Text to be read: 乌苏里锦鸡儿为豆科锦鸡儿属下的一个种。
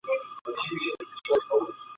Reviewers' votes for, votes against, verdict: 0, 3, rejected